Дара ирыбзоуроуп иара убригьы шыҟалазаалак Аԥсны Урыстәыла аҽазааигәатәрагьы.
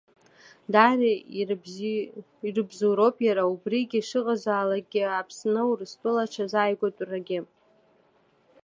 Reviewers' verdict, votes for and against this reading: accepted, 2, 0